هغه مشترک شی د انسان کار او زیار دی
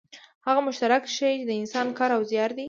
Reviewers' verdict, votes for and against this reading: accepted, 2, 0